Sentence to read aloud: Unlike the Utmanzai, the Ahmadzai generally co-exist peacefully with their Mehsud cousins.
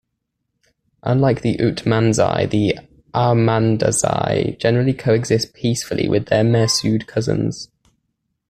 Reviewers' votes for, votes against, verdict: 2, 1, accepted